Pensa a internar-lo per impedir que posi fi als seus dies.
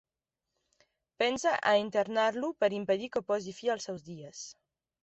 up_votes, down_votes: 2, 0